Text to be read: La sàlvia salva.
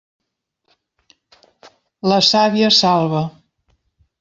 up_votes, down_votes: 0, 2